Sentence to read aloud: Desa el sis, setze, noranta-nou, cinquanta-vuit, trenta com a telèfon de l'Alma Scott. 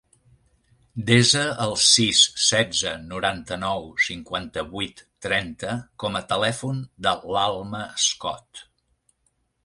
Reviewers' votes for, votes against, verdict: 2, 0, accepted